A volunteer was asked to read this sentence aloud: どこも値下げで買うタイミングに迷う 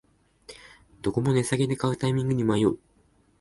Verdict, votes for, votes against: accepted, 2, 0